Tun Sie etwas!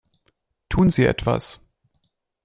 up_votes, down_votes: 2, 0